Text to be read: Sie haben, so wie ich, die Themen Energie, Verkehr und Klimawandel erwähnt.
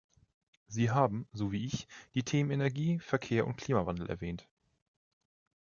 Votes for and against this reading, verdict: 3, 0, accepted